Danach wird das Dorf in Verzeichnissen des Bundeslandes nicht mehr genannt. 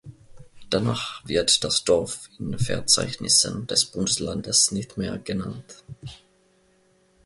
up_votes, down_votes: 2, 0